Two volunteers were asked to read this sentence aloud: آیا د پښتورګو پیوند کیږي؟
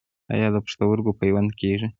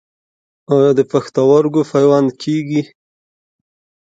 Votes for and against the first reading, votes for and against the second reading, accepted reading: 1, 2, 2, 0, second